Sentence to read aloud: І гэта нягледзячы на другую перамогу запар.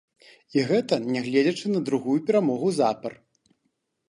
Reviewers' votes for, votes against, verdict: 2, 0, accepted